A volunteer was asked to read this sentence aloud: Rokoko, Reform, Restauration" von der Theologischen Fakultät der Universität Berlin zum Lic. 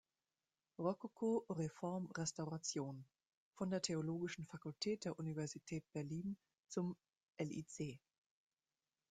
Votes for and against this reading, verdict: 0, 2, rejected